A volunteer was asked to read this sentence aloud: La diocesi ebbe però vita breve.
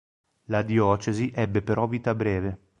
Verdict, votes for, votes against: accepted, 4, 1